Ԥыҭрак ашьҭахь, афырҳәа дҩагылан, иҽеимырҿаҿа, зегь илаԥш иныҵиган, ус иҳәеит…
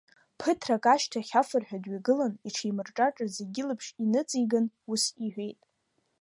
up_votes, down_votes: 2, 0